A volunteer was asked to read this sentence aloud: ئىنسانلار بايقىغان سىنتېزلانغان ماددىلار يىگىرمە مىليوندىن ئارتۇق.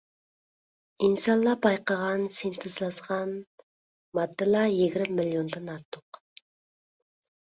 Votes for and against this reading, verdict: 0, 2, rejected